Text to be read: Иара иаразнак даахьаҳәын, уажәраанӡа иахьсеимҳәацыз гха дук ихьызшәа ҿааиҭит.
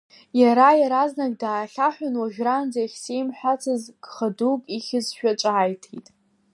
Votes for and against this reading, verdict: 2, 1, accepted